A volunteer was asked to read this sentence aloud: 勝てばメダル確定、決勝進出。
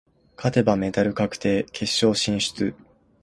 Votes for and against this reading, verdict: 2, 0, accepted